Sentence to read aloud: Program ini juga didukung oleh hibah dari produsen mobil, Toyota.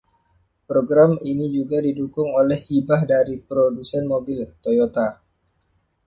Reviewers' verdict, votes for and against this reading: accepted, 2, 0